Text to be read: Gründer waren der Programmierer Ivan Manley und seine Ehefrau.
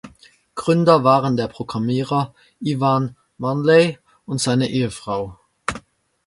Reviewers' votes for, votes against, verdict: 2, 0, accepted